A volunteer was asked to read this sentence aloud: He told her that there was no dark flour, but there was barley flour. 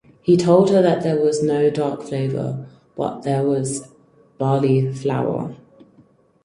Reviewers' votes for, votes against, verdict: 0, 4, rejected